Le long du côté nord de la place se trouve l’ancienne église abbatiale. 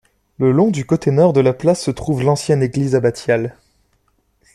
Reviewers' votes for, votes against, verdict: 2, 1, accepted